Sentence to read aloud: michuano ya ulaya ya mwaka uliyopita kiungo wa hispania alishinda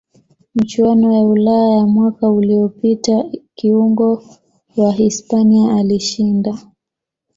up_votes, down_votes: 2, 1